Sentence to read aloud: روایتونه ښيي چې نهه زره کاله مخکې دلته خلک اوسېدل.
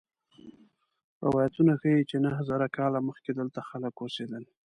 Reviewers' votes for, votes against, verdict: 1, 2, rejected